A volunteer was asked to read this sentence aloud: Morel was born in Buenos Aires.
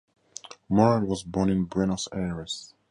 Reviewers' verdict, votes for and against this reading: accepted, 4, 0